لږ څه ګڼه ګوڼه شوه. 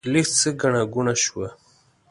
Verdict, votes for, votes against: accepted, 2, 0